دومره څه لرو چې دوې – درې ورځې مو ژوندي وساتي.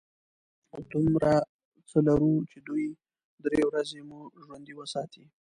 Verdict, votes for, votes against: accepted, 2, 0